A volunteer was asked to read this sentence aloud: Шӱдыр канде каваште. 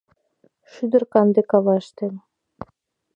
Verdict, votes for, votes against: accepted, 2, 0